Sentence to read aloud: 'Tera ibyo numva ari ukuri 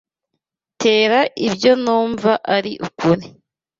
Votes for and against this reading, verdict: 2, 0, accepted